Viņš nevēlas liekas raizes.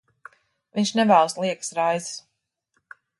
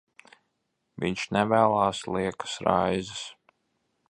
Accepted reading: first